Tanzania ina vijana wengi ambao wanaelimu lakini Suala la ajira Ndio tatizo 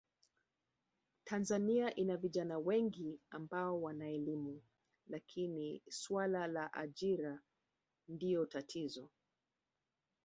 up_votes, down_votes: 1, 2